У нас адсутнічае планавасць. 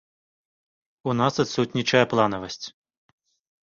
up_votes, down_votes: 2, 0